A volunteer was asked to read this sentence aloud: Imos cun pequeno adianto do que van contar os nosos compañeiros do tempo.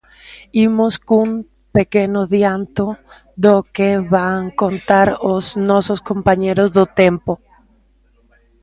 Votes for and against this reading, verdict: 2, 1, accepted